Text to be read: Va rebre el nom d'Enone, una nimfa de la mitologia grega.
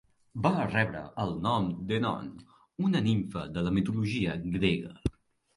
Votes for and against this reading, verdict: 2, 0, accepted